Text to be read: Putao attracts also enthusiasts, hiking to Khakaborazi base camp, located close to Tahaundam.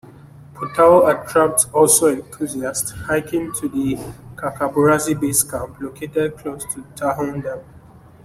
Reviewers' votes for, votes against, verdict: 1, 2, rejected